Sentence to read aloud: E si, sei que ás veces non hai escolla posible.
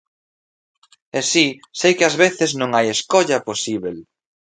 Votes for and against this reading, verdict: 1, 2, rejected